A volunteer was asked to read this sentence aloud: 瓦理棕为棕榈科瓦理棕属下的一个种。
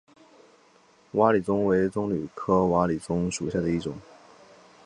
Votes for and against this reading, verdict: 0, 2, rejected